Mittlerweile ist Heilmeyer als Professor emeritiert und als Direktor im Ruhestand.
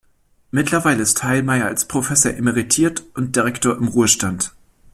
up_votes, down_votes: 0, 2